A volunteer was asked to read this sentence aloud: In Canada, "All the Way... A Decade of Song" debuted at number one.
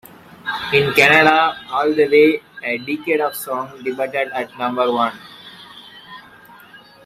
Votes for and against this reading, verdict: 0, 2, rejected